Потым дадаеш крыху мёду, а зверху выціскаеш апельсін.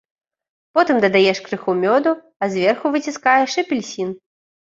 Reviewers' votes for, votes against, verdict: 2, 0, accepted